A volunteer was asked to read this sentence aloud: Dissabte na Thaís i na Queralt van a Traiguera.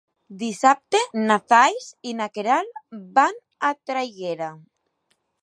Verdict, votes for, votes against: rejected, 1, 2